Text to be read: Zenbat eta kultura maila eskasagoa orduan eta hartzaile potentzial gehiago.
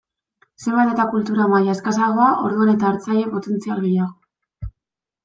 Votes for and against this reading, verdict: 2, 0, accepted